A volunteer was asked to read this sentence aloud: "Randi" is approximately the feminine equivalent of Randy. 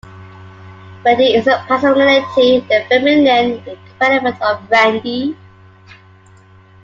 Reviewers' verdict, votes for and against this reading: rejected, 0, 2